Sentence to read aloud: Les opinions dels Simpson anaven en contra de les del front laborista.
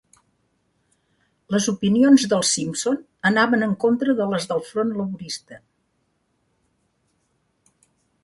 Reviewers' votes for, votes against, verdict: 3, 0, accepted